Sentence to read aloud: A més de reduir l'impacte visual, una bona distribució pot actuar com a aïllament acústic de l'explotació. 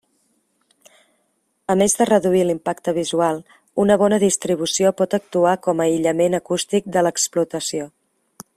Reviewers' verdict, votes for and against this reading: accepted, 3, 0